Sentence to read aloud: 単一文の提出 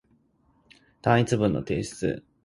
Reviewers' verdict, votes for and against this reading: accepted, 2, 0